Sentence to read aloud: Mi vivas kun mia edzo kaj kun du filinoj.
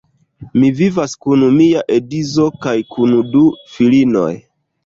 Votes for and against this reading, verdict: 1, 2, rejected